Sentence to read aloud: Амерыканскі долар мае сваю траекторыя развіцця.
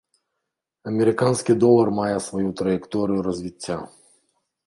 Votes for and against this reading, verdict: 0, 2, rejected